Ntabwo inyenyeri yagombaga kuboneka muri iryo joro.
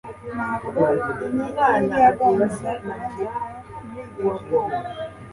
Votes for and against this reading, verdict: 0, 2, rejected